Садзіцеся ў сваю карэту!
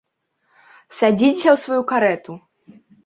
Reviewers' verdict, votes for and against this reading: rejected, 0, 2